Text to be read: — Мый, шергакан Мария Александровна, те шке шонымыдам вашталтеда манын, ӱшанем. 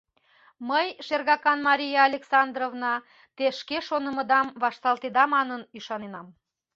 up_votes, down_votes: 1, 2